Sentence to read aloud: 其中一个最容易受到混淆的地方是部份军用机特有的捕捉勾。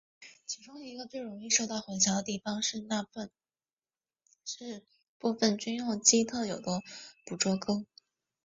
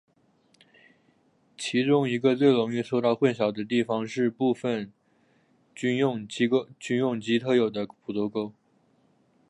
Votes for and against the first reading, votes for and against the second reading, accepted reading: 0, 3, 3, 0, second